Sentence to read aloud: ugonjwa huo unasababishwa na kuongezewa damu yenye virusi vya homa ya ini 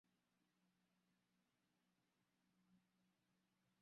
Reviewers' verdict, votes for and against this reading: rejected, 0, 2